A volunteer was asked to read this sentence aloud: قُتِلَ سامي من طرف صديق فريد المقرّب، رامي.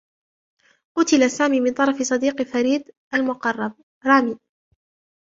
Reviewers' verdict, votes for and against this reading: rejected, 0, 2